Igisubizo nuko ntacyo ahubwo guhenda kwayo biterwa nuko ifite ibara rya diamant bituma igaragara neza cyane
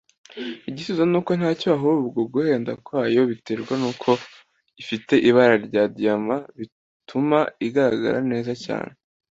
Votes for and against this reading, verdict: 2, 0, accepted